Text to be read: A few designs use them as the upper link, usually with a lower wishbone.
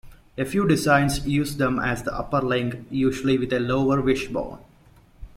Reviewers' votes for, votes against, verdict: 1, 2, rejected